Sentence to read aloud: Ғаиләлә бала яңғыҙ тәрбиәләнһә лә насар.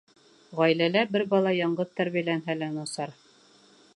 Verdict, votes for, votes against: rejected, 1, 2